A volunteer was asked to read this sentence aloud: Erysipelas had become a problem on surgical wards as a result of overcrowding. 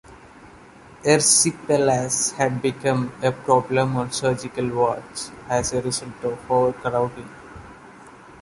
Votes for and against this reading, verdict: 1, 2, rejected